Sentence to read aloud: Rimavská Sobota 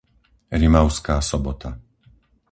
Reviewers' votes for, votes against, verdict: 4, 0, accepted